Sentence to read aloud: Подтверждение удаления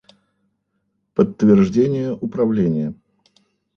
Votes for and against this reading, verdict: 0, 3, rejected